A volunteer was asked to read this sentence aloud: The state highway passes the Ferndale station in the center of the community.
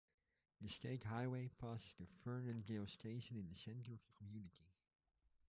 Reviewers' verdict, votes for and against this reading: rejected, 1, 2